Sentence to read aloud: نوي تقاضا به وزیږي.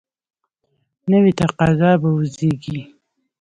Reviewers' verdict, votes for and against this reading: rejected, 1, 2